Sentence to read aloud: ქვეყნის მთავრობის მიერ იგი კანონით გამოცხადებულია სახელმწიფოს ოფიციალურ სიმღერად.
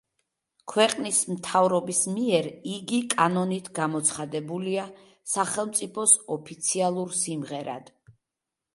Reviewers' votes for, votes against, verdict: 2, 0, accepted